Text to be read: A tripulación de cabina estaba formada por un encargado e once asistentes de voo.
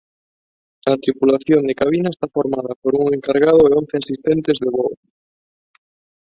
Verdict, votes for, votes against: rejected, 0, 2